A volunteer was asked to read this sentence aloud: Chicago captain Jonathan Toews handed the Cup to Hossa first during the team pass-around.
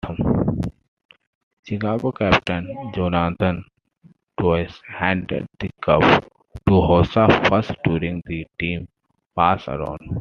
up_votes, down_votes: 2, 1